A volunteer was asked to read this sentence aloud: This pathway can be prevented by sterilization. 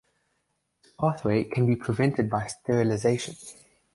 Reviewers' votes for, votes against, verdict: 0, 2, rejected